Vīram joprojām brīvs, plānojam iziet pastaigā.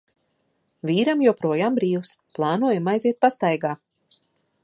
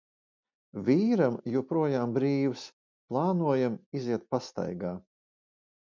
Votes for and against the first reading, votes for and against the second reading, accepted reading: 0, 2, 2, 0, second